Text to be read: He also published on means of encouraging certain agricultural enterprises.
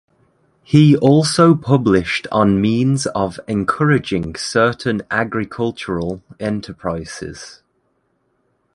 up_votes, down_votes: 2, 0